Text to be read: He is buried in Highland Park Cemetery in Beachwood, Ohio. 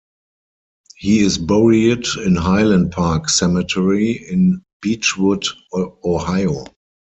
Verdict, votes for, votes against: rejected, 0, 4